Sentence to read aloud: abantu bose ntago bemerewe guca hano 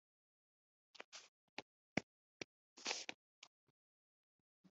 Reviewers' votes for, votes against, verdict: 0, 3, rejected